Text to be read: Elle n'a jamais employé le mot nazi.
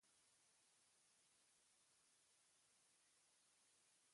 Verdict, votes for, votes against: rejected, 0, 2